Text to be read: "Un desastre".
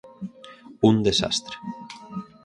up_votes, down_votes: 4, 0